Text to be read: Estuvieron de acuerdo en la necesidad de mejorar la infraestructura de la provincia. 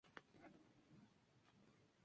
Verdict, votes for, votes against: rejected, 0, 2